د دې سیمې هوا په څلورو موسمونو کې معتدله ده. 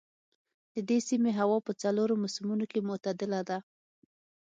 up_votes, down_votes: 6, 0